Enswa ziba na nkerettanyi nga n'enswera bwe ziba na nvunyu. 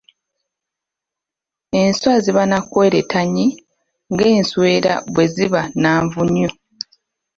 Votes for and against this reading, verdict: 1, 2, rejected